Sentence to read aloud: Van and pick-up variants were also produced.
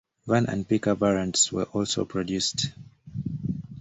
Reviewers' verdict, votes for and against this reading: accepted, 2, 0